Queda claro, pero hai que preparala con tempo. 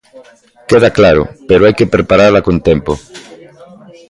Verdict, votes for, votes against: accepted, 2, 0